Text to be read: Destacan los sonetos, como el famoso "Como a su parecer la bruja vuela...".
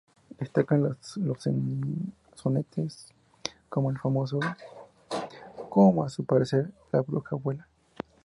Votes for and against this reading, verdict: 2, 0, accepted